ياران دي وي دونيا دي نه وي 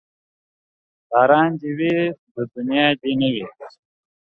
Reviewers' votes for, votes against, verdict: 2, 0, accepted